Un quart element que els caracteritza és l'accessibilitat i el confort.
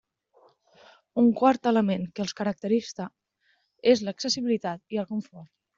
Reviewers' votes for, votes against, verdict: 0, 2, rejected